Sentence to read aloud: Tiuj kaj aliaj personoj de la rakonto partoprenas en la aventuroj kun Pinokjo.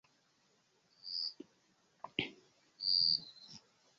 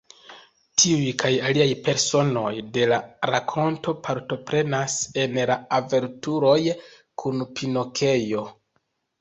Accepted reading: second